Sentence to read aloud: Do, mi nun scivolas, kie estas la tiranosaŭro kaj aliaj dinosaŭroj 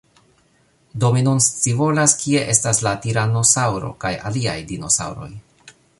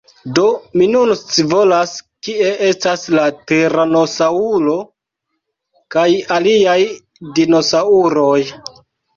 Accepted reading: first